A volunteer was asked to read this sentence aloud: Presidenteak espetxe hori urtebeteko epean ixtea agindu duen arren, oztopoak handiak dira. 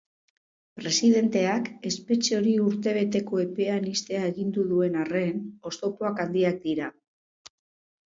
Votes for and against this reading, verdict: 2, 0, accepted